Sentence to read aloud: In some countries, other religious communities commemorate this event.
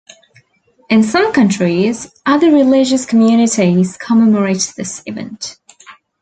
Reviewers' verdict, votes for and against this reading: accepted, 2, 0